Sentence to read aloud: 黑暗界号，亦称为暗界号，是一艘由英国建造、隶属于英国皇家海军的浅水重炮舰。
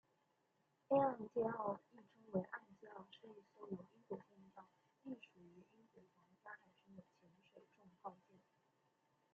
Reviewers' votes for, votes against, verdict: 0, 2, rejected